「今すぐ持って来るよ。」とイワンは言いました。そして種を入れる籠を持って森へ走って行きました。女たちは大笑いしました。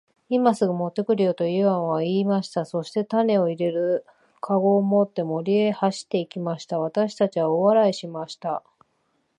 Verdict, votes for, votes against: rejected, 1, 2